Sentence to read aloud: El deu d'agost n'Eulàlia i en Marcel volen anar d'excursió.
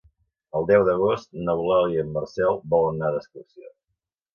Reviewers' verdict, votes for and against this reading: accepted, 2, 1